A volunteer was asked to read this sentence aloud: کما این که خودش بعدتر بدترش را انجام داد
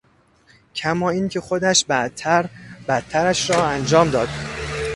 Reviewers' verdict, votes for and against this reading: rejected, 1, 2